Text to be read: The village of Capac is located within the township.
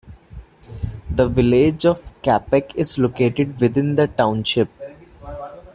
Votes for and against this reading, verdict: 2, 0, accepted